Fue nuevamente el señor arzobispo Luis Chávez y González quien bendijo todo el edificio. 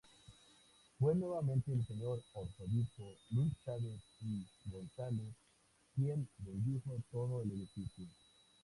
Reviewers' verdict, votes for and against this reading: rejected, 0, 2